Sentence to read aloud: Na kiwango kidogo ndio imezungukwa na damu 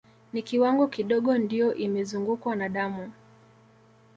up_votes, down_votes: 2, 0